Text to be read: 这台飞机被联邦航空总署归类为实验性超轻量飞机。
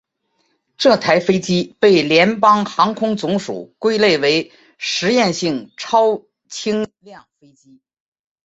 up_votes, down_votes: 2, 0